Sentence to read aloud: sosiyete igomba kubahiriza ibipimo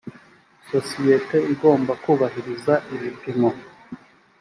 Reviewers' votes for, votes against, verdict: 3, 0, accepted